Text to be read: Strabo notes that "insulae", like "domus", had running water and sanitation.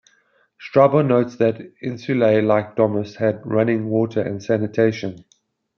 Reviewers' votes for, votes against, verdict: 2, 0, accepted